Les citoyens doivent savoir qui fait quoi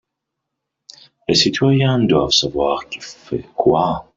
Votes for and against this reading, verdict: 1, 2, rejected